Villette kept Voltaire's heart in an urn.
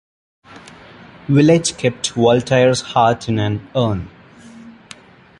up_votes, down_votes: 2, 0